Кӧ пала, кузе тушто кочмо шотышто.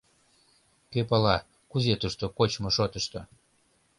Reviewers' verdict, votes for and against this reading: accepted, 2, 0